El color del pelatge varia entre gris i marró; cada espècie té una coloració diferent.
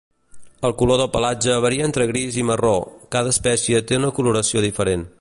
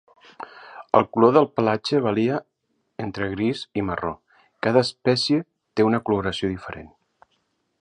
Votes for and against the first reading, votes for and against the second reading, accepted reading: 2, 0, 0, 2, first